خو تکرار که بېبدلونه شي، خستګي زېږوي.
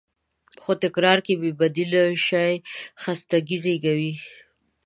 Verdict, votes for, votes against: rejected, 0, 2